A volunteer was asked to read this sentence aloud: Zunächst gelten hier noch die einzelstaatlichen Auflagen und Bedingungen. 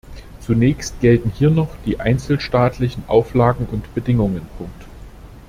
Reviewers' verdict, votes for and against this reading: accepted, 2, 1